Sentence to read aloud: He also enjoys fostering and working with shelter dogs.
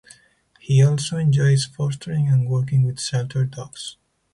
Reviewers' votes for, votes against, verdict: 2, 0, accepted